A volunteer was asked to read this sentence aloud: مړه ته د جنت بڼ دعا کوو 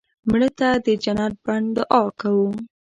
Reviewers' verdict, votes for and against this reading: rejected, 1, 2